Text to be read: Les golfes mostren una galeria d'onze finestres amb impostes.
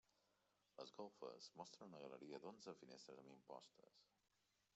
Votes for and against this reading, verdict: 2, 1, accepted